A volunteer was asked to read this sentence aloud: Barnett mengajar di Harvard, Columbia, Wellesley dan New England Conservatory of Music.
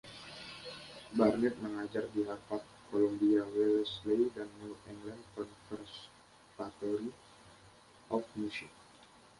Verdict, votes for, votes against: rejected, 0, 2